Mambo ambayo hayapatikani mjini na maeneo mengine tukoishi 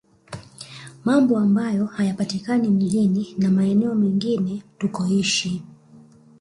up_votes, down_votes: 0, 2